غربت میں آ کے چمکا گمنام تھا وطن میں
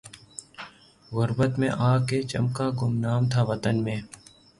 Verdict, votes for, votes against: rejected, 0, 3